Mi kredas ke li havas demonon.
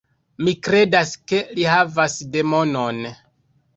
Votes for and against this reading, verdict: 0, 2, rejected